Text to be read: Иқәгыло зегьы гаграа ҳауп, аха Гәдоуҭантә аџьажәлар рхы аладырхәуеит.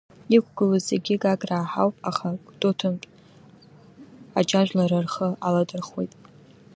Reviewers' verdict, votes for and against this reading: accepted, 2, 0